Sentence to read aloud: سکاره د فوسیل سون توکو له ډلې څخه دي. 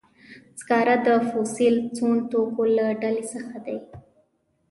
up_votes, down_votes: 1, 2